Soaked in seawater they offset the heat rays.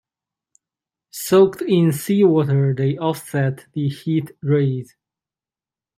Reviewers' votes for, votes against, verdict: 2, 1, accepted